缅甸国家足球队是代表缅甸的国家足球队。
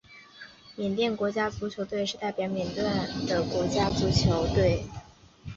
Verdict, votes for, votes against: accepted, 3, 0